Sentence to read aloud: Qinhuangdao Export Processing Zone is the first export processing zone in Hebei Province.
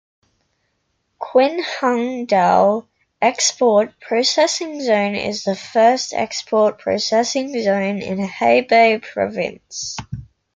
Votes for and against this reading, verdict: 2, 0, accepted